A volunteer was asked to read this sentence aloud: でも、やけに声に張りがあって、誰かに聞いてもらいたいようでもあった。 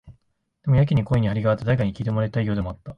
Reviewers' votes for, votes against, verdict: 1, 2, rejected